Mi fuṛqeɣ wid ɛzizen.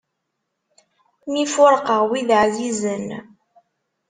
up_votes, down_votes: 2, 0